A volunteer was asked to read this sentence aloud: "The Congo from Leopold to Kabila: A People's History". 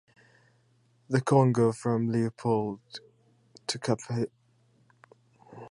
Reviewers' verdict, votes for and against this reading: rejected, 0, 2